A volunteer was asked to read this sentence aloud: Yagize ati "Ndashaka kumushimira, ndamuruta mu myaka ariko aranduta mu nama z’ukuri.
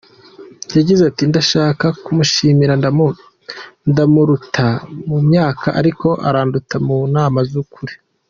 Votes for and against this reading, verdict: 1, 2, rejected